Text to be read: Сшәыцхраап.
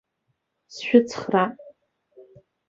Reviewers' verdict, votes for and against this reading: accepted, 4, 3